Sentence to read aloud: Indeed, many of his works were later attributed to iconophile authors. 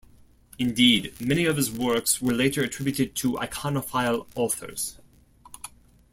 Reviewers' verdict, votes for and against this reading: accepted, 2, 0